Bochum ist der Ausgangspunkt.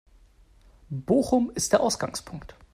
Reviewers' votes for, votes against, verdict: 2, 0, accepted